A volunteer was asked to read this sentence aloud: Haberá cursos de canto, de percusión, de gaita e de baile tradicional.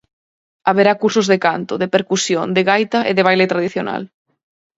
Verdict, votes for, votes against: accepted, 4, 0